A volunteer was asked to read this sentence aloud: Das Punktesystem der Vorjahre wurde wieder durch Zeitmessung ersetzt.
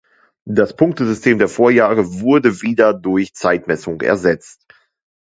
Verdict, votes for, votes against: accepted, 2, 0